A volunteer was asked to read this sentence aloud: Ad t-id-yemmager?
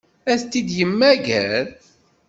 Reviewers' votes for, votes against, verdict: 1, 2, rejected